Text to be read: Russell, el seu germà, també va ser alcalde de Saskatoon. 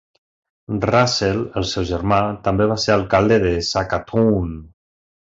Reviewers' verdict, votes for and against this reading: rejected, 0, 2